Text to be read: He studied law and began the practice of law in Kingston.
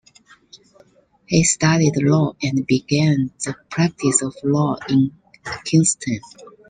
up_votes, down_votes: 3, 1